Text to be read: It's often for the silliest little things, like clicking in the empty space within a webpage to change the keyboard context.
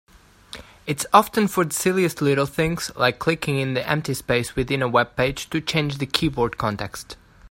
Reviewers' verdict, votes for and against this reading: accepted, 2, 1